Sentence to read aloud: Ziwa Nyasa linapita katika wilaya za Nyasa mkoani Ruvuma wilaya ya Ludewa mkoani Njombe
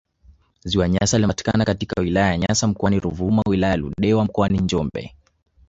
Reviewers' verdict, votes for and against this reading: rejected, 0, 2